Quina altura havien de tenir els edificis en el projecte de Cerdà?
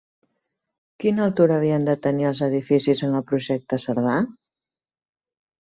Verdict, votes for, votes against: rejected, 1, 3